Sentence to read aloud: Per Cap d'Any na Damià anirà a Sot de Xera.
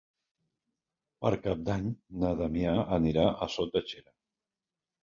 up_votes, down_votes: 3, 0